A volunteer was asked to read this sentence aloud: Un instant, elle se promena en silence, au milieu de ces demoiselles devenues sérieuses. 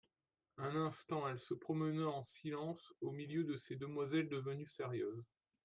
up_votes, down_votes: 2, 0